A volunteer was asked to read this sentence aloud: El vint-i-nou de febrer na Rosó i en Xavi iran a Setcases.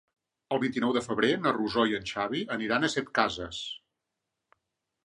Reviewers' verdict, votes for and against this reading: accepted, 2, 0